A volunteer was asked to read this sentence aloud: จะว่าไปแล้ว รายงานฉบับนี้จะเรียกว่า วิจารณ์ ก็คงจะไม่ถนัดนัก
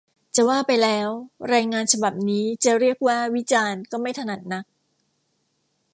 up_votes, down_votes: 1, 2